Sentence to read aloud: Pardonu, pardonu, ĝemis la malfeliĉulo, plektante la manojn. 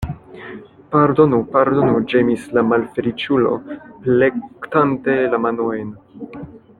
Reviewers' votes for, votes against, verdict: 1, 2, rejected